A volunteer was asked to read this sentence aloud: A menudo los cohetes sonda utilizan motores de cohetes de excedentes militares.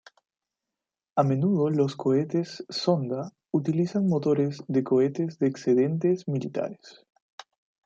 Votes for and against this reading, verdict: 2, 0, accepted